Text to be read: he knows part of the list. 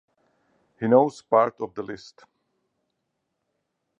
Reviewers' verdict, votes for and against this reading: rejected, 2, 2